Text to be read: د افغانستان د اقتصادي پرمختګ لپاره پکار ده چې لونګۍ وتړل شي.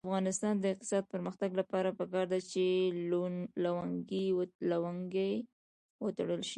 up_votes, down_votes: 2, 1